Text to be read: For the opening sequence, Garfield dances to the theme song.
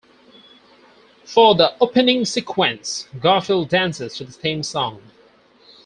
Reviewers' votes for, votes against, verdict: 4, 0, accepted